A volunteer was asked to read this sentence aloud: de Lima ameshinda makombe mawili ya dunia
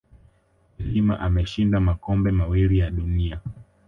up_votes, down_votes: 2, 1